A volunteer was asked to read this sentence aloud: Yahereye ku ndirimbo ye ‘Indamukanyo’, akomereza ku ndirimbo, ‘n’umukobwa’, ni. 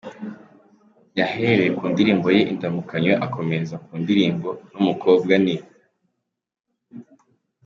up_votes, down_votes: 2, 0